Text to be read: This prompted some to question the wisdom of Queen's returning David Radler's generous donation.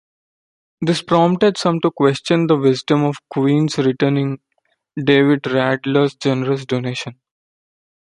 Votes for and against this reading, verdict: 1, 2, rejected